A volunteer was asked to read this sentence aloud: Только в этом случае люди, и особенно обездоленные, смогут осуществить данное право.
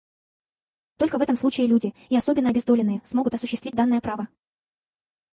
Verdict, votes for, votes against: rejected, 2, 2